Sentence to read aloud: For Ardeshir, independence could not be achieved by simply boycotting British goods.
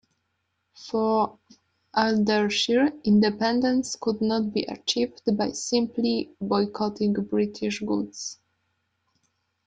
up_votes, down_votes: 2, 0